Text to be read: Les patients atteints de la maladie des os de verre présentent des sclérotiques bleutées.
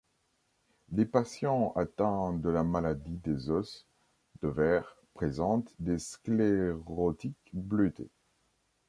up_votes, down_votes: 0, 2